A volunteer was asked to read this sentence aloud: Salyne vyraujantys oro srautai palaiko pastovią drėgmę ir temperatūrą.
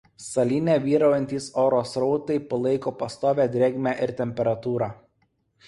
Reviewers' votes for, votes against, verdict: 2, 0, accepted